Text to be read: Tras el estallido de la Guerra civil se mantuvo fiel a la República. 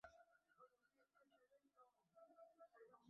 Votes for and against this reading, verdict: 0, 2, rejected